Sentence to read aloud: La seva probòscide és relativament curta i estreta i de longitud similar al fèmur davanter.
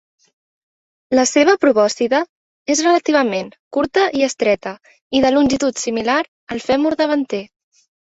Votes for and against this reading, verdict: 2, 0, accepted